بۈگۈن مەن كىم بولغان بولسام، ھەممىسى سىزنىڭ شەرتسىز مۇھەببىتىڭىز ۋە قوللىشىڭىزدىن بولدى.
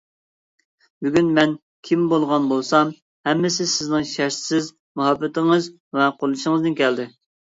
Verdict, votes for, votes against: rejected, 0, 2